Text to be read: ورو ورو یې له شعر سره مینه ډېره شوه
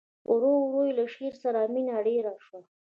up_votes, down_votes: 0, 2